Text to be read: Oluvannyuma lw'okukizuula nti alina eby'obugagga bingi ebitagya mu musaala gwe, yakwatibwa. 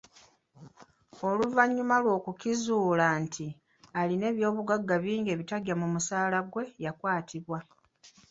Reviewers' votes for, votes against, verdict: 2, 0, accepted